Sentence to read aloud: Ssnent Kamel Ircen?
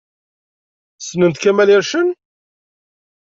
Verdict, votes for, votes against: accepted, 2, 0